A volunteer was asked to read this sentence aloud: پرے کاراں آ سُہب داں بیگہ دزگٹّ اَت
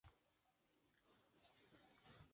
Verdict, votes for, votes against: accepted, 2, 1